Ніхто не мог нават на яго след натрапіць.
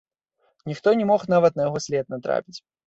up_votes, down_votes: 2, 0